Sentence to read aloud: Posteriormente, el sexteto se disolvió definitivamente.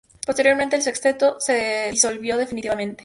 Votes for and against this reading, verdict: 2, 0, accepted